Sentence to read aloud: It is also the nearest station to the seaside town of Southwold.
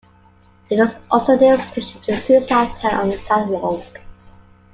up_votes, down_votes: 0, 2